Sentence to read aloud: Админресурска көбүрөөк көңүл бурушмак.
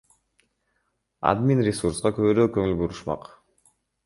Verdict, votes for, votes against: accepted, 3, 2